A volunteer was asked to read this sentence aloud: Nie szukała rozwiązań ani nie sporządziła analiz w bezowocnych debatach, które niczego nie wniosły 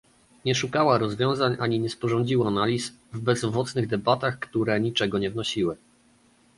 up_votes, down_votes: 0, 2